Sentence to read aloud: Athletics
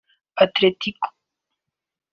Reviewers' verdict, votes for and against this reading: rejected, 1, 2